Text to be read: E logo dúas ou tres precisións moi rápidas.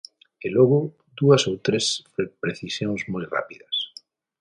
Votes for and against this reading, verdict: 0, 6, rejected